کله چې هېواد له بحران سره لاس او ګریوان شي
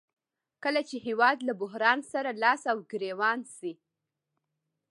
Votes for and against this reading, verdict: 2, 0, accepted